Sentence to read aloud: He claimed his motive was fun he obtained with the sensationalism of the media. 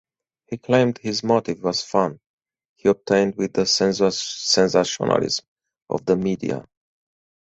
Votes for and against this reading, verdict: 0, 4, rejected